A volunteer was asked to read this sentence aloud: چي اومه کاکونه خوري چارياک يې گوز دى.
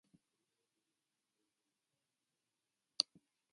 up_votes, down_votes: 1, 2